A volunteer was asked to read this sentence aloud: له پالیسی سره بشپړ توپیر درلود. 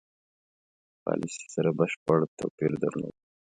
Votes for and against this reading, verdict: 1, 2, rejected